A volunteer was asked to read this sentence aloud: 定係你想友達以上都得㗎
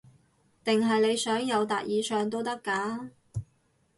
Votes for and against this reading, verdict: 4, 0, accepted